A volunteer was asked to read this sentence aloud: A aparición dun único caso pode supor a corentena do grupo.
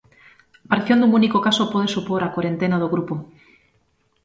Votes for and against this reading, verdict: 0, 2, rejected